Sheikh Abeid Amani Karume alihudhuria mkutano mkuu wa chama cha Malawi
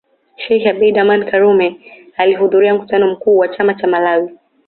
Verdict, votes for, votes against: accepted, 2, 0